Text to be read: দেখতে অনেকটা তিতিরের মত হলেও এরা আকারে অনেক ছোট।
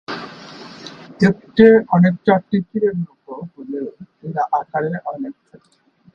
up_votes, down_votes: 0, 3